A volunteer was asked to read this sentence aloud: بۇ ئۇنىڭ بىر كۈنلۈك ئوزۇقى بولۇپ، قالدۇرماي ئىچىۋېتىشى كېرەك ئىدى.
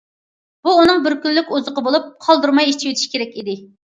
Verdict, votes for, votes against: accepted, 2, 0